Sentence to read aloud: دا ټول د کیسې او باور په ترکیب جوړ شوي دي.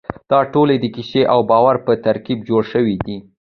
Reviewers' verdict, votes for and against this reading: accepted, 2, 0